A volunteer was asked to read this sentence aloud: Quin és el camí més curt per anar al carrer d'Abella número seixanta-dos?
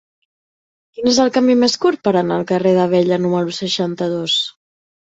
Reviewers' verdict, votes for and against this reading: accepted, 3, 0